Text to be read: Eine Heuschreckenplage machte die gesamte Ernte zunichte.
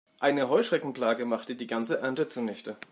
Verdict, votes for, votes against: rejected, 1, 2